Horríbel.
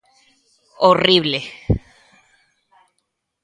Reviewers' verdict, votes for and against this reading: rejected, 0, 2